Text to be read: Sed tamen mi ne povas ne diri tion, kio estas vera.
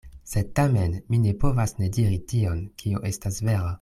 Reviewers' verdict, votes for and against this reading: accepted, 2, 0